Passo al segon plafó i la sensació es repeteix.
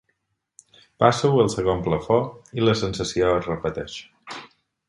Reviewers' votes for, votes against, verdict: 4, 0, accepted